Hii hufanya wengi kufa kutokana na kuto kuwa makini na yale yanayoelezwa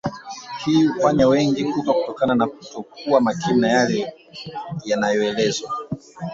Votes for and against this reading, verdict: 0, 3, rejected